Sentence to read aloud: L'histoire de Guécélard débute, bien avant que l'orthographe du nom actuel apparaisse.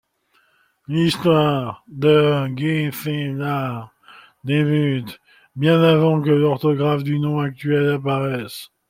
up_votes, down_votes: 2, 1